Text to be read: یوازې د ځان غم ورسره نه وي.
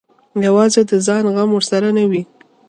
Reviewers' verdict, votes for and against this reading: accepted, 2, 0